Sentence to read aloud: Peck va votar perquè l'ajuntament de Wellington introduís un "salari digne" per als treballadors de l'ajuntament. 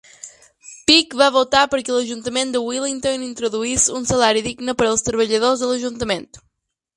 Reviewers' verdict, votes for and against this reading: rejected, 0, 2